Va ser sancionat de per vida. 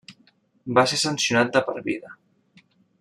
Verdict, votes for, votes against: accepted, 3, 0